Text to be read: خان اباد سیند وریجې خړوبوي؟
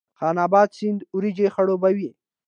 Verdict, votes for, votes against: accepted, 2, 0